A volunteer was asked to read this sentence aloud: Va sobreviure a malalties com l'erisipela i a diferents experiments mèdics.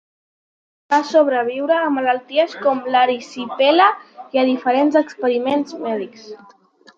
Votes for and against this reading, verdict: 2, 1, accepted